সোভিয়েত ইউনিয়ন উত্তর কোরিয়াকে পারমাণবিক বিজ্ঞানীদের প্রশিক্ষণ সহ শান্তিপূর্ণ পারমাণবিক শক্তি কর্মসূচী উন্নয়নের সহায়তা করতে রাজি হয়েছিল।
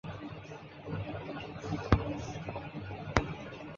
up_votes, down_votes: 0, 2